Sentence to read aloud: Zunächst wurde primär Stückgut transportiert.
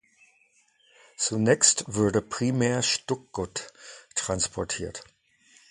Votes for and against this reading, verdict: 0, 2, rejected